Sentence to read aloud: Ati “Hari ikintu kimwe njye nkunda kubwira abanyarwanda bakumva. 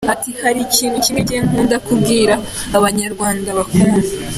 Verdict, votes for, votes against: accepted, 2, 0